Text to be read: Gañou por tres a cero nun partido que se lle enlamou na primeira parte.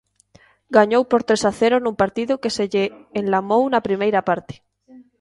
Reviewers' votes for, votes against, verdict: 2, 0, accepted